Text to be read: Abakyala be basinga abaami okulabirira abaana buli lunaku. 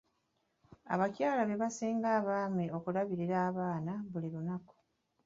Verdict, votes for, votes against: accepted, 2, 0